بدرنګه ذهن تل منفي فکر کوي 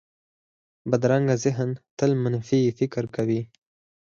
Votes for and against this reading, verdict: 2, 4, rejected